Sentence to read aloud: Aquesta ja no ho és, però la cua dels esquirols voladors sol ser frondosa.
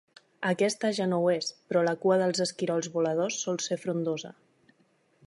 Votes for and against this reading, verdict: 2, 0, accepted